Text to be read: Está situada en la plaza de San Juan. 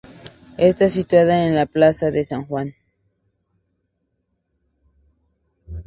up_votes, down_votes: 2, 0